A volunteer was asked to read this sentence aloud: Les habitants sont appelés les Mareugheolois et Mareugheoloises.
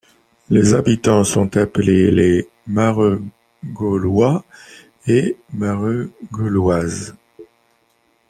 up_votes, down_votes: 1, 2